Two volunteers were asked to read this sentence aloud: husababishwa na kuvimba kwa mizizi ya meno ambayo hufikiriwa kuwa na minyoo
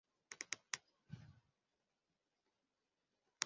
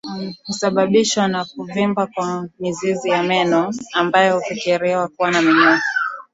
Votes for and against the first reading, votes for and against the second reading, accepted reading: 0, 2, 2, 0, second